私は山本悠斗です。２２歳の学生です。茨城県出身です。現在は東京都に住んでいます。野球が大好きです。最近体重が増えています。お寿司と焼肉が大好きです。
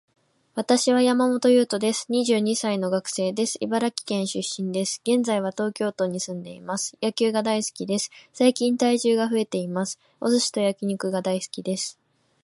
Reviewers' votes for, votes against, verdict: 0, 2, rejected